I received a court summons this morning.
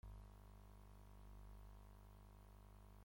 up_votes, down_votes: 0, 2